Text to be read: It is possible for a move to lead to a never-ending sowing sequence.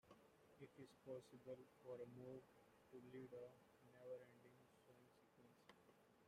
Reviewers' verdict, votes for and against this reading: rejected, 0, 3